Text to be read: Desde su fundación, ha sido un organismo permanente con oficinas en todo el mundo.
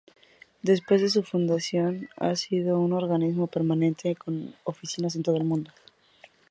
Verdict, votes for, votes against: rejected, 0, 2